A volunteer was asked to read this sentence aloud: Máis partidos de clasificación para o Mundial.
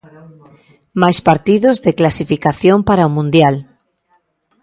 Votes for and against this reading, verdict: 3, 0, accepted